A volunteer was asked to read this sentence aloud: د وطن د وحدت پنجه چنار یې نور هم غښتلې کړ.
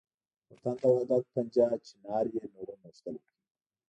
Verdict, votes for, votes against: rejected, 0, 2